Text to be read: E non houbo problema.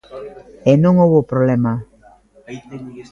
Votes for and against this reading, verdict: 2, 0, accepted